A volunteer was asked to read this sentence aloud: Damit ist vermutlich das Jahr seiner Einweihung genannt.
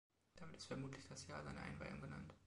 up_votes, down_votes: 0, 2